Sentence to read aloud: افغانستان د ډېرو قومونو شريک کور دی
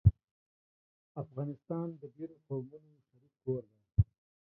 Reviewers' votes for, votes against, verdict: 1, 3, rejected